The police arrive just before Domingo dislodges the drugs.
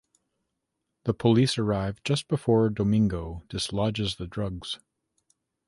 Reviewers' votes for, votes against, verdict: 2, 0, accepted